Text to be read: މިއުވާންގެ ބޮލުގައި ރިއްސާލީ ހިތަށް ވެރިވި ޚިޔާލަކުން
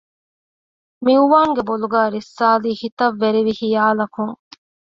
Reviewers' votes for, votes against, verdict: 2, 0, accepted